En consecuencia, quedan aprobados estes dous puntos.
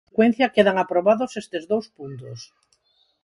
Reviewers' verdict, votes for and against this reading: rejected, 0, 4